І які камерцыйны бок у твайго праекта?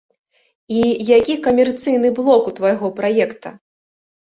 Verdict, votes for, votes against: rejected, 0, 2